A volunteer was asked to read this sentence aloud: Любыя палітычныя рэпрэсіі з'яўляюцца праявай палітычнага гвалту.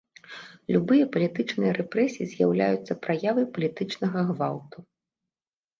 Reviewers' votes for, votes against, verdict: 1, 2, rejected